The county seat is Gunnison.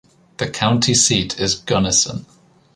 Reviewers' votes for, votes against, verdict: 2, 0, accepted